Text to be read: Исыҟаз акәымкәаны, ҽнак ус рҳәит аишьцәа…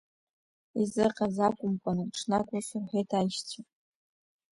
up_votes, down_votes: 2, 1